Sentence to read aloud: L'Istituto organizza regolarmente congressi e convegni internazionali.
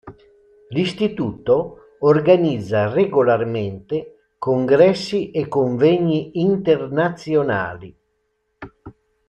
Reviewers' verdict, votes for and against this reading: accepted, 2, 0